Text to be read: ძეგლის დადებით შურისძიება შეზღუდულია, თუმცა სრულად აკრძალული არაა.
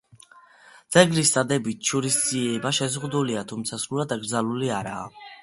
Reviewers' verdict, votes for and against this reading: rejected, 1, 2